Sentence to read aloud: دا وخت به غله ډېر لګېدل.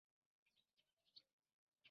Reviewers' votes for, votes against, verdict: 1, 2, rejected